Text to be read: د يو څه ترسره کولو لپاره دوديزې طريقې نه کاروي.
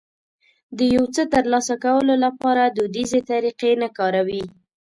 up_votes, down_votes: 0, 2